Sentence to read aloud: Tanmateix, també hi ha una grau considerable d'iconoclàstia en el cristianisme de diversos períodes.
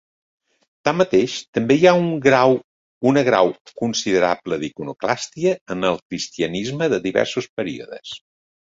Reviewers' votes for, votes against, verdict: 0, 2, rejected